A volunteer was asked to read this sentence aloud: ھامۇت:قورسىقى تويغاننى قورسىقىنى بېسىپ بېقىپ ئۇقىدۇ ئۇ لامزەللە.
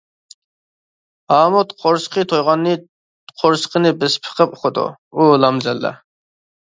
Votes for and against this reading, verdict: 0, 2, rejected